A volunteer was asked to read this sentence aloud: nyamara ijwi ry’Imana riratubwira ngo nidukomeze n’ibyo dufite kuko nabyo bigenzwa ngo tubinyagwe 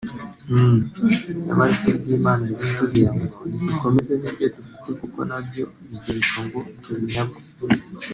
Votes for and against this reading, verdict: 0, 2, rejected